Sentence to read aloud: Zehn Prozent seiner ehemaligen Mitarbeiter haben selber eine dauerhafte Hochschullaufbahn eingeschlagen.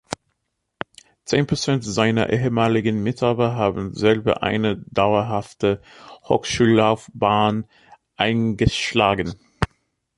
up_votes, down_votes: 0, 2